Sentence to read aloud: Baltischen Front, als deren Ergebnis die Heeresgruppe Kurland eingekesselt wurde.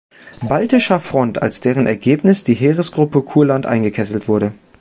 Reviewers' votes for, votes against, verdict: 0, 2, rejected